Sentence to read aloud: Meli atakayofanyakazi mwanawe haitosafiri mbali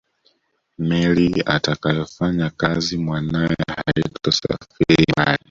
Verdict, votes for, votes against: rejected, 1, 2